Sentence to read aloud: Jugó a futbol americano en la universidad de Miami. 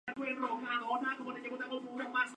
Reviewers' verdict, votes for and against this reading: rejected, 0, 4